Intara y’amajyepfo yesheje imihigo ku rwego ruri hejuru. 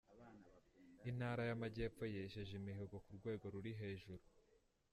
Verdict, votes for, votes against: rejected, 0, 2